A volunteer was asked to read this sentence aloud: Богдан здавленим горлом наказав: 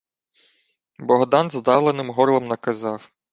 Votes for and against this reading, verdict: 2, 0, accepted